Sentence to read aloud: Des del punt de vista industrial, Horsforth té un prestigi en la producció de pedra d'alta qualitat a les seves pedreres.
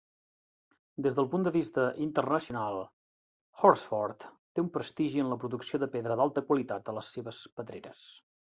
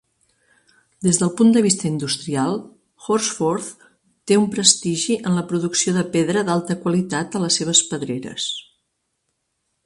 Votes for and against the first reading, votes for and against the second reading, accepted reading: 0, 2, 3, 1, second